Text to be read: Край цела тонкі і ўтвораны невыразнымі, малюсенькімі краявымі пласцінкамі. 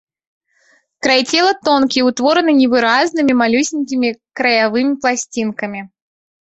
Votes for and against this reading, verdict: 1, 2, rejected